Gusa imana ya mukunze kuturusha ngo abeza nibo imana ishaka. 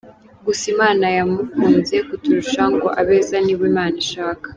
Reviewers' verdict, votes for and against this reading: accepted, 2, 0